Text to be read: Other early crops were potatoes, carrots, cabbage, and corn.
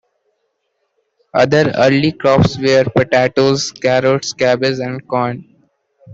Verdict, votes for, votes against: accepted, 2, 0